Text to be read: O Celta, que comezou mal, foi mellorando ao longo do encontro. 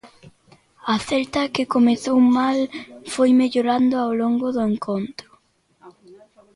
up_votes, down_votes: 0, 2